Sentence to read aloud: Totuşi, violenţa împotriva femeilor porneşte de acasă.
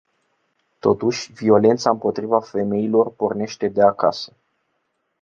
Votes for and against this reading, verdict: 2, 0, accepted